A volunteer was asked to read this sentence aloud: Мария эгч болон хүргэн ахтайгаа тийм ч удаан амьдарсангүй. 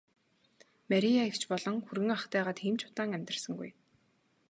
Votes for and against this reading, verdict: 4, 0, accepted